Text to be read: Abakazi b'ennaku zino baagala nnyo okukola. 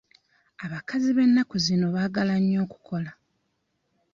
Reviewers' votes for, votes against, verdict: 2, 0, accepted